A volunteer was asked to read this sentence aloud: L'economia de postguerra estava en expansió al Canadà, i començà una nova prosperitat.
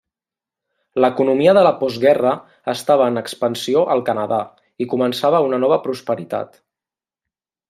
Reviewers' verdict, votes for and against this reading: rejected, 0, 2